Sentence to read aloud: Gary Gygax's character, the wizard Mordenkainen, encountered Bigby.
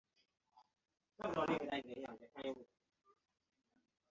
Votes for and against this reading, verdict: 0, 2, rejected